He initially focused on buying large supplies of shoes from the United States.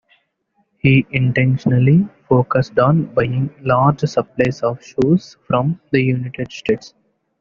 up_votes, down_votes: 0, 2